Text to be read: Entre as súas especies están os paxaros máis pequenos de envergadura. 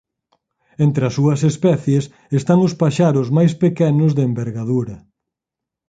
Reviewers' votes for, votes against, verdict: 4, 0, accepted